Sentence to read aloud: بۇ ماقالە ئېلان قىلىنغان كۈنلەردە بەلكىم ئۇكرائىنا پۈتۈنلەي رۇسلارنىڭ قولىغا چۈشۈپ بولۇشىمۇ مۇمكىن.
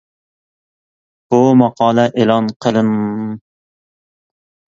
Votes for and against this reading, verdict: 0, 2, rejected